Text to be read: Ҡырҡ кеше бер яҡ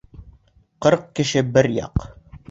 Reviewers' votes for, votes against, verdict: 2, 0, accepted